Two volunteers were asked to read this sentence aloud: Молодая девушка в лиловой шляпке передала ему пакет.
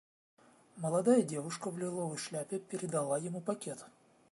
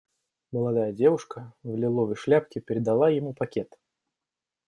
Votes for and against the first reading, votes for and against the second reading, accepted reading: 0, 2, 2, 0, second